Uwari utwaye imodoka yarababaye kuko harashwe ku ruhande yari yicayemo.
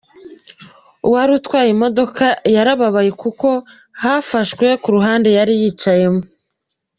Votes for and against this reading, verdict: 0, 2, rejected